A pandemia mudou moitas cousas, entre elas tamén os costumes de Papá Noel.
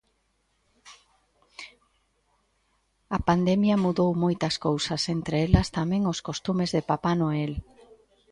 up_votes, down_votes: 2, 0